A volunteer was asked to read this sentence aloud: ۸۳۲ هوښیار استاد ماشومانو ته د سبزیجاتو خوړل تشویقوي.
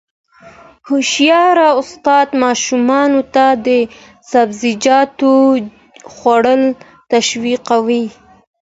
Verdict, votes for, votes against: rejected, 0, 2